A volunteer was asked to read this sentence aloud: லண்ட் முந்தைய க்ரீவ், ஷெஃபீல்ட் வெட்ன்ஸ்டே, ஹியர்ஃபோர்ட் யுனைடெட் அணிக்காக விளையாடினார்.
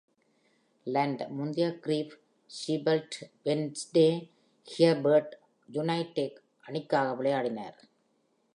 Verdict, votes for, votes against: accepted, 2, 0